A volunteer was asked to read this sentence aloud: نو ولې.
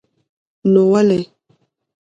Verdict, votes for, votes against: accepted, 2, 1